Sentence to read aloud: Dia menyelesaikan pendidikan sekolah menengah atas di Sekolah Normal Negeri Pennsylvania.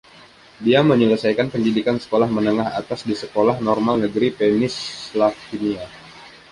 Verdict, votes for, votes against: rejected, 0, 2